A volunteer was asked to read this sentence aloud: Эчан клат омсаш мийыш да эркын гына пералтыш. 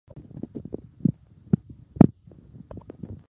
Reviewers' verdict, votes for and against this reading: rejected, 0, 2